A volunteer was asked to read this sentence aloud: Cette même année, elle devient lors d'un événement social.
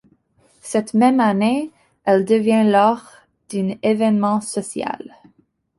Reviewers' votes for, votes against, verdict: 0, 3, rejected